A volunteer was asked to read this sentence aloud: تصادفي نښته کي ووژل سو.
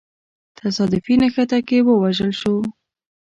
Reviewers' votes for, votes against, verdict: 2, 0, accepted